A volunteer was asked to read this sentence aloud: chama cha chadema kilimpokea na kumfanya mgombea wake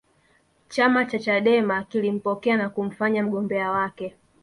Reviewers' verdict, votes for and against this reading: rejected, 0, 2